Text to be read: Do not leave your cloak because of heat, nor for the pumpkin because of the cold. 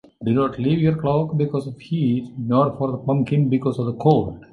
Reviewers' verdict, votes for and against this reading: accepted, 2, 0